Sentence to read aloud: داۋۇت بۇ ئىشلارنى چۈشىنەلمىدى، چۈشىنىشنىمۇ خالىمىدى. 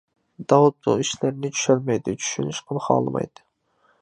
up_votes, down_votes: 0, 2